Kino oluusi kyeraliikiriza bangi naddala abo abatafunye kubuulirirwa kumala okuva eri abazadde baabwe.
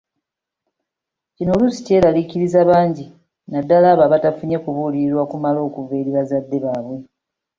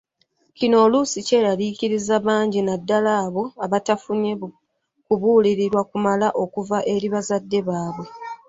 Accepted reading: first